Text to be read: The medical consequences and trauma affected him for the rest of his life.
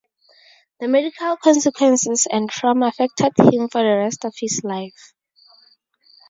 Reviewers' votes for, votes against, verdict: 2, 2, rejected